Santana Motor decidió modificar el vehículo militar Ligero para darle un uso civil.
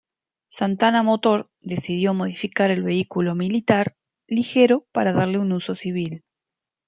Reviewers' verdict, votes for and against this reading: accepted, 2, 0